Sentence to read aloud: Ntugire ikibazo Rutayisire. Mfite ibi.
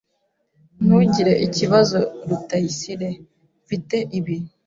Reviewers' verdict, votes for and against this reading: accepted, 2, 0